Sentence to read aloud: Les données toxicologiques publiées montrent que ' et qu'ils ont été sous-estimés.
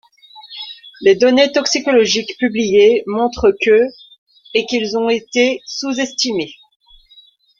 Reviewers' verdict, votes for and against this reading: rejected, 0, 2